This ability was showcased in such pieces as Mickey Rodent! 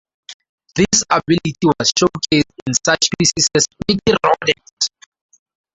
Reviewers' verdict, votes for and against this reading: rejected, 0, 2